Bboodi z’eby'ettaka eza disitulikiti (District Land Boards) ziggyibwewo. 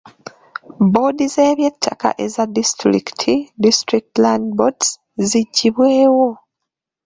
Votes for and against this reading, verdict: 1, 2, rejected